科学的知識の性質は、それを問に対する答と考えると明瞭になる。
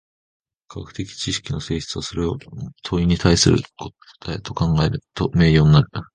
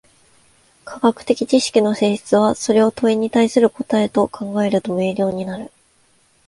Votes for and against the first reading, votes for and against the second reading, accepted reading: 0, 2, 2, 0, second